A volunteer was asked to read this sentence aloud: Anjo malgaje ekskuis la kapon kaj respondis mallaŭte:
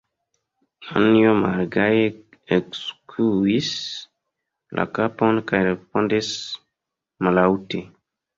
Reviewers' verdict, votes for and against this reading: rejected, 0, 2